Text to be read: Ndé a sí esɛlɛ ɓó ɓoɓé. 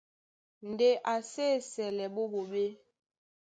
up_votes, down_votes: 3, 0